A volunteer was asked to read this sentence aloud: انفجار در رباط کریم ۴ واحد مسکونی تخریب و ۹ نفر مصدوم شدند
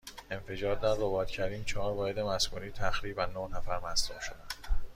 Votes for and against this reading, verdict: 0, 2, rejected